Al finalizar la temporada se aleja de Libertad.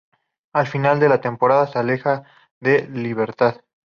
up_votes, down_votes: 0, 2